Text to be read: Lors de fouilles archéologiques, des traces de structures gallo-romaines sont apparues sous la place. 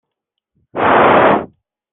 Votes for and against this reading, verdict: 0, 2, rejected